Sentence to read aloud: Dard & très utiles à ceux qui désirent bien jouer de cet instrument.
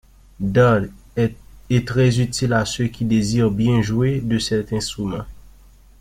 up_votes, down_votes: 0, 2